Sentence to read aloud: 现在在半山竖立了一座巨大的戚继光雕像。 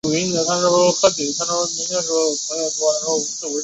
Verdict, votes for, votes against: rejected, 0, 2